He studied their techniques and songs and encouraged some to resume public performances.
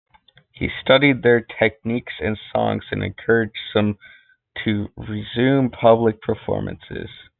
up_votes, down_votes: 3, 0